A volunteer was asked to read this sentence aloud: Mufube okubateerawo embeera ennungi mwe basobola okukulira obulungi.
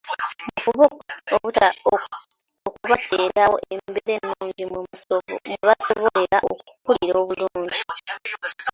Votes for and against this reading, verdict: 2, 1, accepted